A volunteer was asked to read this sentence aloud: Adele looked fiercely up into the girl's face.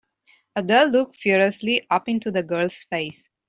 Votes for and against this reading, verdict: 0, 2, rejected